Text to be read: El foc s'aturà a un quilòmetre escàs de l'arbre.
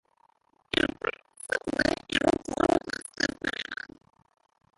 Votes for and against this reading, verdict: 0, 2, rejected